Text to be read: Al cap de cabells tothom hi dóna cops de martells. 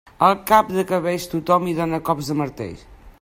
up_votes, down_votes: 0, 2